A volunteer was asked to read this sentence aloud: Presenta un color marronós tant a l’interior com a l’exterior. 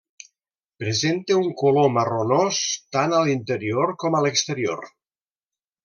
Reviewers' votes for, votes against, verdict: 2, 0, accepted